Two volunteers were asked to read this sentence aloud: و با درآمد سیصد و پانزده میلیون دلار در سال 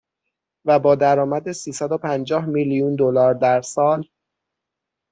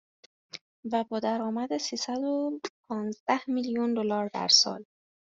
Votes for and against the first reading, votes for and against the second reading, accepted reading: 3, 6, 2, 0, second